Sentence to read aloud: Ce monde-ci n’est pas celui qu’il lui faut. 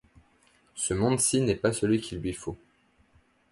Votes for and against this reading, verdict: 2, 0, accepted